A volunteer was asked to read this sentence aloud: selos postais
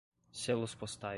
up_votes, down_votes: 0, 2